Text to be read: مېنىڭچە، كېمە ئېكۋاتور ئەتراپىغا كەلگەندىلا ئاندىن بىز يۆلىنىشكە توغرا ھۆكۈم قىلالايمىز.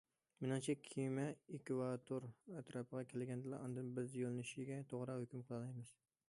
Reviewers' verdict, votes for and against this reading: accepted, 2, 0